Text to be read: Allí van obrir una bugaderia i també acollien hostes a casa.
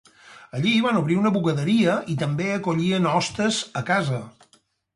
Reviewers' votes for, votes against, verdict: 4, 0, accepted